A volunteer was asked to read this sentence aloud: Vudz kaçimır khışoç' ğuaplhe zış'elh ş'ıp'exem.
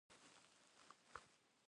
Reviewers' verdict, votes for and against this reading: rejected, 1, 2